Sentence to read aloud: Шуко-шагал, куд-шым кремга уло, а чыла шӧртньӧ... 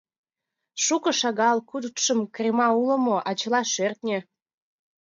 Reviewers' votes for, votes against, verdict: 2, 0, accepted